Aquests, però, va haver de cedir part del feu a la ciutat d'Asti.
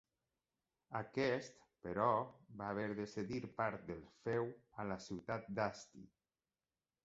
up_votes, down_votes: 0, 2